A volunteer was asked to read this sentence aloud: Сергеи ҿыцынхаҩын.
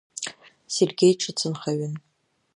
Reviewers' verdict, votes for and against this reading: accepted, 2, 0